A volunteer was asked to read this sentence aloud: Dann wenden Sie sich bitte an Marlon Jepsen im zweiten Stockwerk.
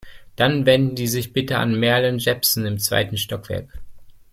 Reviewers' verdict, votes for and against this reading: rejected, 1, 2